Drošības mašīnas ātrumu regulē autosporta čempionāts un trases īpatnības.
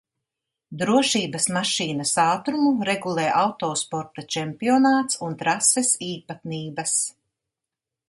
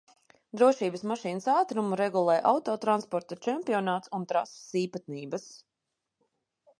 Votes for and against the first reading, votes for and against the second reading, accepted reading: 2, 0, 0, 2, first